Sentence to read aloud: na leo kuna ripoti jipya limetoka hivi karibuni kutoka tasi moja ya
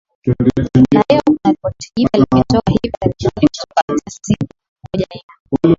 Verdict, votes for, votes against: rejected, 0, 2